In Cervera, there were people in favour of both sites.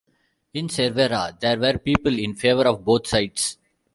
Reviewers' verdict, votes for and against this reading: rejected, 1, 2